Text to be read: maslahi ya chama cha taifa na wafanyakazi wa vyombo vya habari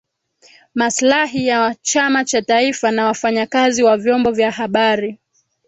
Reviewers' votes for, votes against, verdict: 2, 3, rejected